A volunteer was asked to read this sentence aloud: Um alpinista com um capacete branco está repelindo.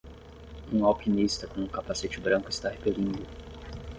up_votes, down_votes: 0, 3